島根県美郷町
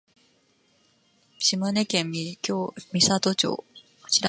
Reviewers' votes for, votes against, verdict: 0, 2, rejected